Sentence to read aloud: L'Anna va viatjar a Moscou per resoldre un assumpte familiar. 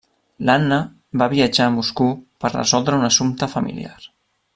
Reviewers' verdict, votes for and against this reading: rejected, 0, 2